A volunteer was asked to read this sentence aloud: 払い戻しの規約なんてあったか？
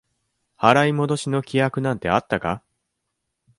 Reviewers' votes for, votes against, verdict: 2, 0, accepted